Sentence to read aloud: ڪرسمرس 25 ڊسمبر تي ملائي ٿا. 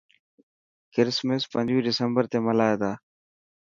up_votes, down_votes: 0, 2